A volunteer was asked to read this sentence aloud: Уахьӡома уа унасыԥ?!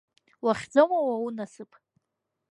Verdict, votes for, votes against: accepted, 2, 0